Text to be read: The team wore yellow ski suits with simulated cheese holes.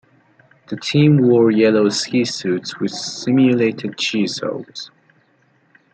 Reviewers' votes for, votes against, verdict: 2, 0, accepted